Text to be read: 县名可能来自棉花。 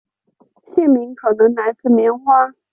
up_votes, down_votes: 5, 0